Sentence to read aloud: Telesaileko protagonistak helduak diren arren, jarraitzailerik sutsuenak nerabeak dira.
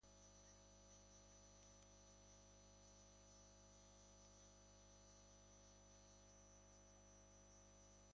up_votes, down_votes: 0, 2